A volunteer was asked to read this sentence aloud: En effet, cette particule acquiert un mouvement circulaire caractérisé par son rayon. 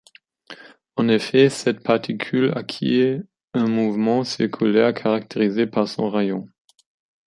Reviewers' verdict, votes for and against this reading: accepted, 2, 0